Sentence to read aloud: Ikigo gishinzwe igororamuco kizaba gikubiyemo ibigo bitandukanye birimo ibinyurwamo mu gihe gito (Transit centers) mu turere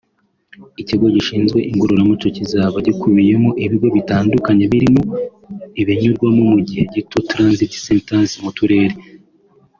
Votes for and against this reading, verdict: 3, 0, accepted